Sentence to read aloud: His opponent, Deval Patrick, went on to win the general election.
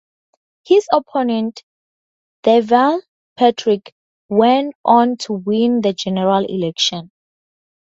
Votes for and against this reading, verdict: 2, 0, accepted